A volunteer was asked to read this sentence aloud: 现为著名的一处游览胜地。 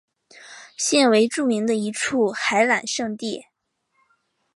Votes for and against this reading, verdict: 3, 2, accepted